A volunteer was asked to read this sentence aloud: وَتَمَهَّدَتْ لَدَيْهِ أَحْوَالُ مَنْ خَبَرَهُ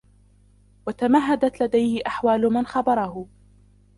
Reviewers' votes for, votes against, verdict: 0, 2, rejected